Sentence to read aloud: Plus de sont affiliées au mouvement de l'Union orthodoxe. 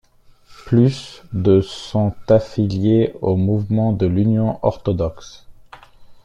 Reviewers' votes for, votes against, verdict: 2, 1, accepted